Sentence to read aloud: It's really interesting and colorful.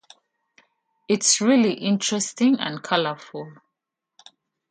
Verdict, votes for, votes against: accepted, 2, 0